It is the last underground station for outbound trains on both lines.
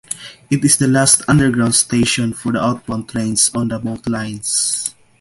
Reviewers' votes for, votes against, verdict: 2, 0, accepted